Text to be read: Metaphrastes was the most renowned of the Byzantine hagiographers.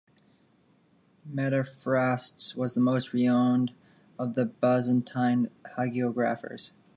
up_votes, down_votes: 0, 2